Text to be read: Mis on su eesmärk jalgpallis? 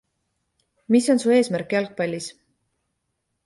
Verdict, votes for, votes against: accepted, 2, 0